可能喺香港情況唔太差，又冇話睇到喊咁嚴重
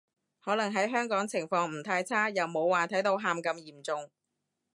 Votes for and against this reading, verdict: 2, 0, accepted